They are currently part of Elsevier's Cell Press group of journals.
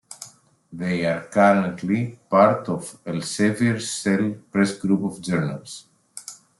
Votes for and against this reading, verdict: 2, 0, accepted